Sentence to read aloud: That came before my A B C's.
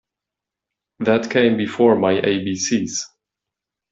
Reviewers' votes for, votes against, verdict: 2, 0, accepted